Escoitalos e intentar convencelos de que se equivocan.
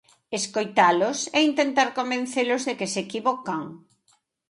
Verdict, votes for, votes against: accepted, 2, 0